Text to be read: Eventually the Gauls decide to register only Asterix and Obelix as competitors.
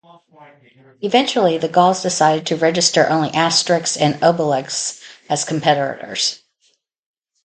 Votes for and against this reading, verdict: 2, 2, rejected